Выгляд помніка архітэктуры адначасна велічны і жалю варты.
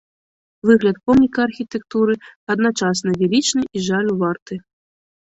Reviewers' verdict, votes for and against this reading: rejected, 1, 2